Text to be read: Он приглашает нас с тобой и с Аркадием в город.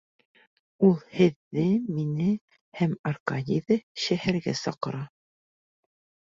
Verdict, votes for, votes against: rejected, 0, 2